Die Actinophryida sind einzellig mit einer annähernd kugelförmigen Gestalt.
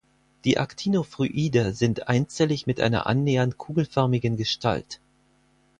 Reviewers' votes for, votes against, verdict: 4, 0, accepted